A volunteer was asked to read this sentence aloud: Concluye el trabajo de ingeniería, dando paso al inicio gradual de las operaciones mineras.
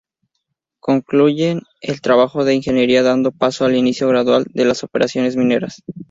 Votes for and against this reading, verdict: 2, 2, rejected